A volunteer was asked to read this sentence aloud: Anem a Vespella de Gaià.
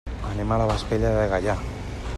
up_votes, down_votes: 1, 2